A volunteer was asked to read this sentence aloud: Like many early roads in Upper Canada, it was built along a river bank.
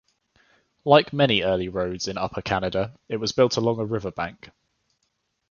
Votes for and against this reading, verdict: 2, 0, accepted